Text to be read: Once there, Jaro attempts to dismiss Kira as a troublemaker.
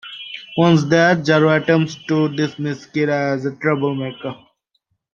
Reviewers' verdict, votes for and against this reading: accepted, 2, 0